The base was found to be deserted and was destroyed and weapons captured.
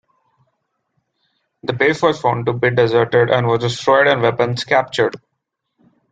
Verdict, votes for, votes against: accepted, 2, 0